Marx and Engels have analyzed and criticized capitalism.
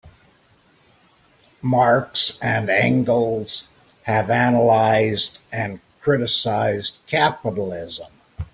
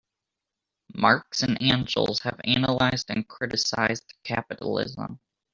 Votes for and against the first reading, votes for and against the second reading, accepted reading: 3, 0, 1, 2, first